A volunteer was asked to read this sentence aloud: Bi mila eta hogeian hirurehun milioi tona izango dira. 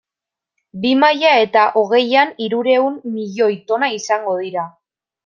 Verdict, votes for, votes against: rejected, 1, 2